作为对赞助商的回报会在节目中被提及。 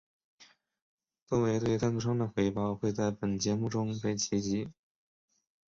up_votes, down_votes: 1, 2